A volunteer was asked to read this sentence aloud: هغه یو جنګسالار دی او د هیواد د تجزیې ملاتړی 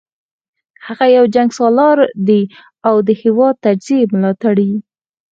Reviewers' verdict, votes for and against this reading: accepted, 4, 2